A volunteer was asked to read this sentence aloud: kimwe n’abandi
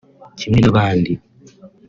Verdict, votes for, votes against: accepted, 3, 0